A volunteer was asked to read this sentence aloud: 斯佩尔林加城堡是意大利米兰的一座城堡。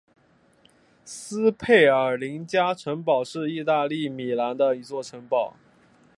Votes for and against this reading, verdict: 2, 0, accepted